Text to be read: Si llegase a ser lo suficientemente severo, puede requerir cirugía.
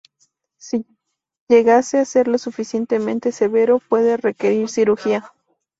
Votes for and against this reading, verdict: 2, 2, rejected